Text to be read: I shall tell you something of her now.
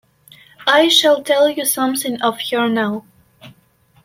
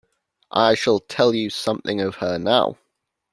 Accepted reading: second